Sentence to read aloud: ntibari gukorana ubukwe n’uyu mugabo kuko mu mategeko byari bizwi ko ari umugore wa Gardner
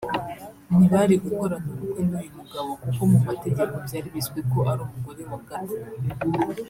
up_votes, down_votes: 1, 2